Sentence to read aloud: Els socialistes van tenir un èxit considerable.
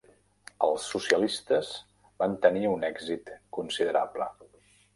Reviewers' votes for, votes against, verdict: 3, 0, accepted